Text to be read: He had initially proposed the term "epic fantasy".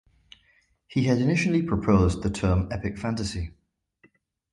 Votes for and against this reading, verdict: 2, 0, accepted